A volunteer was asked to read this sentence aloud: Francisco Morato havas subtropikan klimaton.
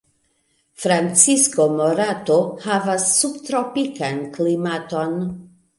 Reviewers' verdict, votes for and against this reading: accepted, 2, 0